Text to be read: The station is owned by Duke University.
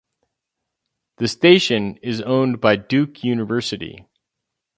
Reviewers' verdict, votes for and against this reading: accepted, 4, 0